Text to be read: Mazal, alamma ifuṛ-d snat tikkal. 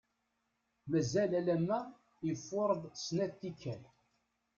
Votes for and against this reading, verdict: 1, 2, rejected